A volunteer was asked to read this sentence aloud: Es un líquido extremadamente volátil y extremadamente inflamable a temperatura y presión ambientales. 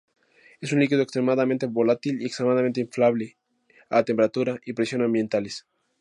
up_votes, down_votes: 0, 2